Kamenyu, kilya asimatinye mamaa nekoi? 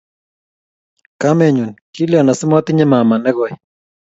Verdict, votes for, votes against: accepted, 2, 0